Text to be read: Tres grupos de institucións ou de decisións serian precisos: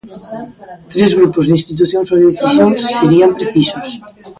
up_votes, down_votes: 0, 2